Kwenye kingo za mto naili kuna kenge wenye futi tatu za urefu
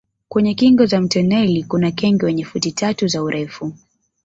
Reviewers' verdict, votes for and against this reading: accepted, 2, 0